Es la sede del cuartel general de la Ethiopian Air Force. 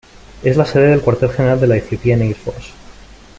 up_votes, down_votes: 0, 2